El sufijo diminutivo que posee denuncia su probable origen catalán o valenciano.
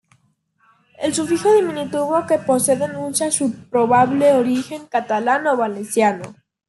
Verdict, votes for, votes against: accepted, 2, 0